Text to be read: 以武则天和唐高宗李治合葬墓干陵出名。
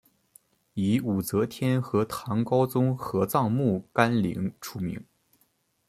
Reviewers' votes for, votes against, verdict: 0, 2, rejected